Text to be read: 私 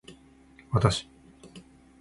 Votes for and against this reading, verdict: 2, 0, accepted